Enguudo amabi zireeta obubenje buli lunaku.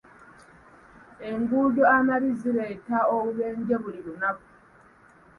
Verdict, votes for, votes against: accepted, 2, 0